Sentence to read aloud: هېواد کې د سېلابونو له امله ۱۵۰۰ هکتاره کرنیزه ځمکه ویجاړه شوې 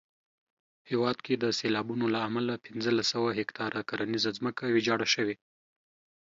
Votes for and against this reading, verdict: 0, 2, rejected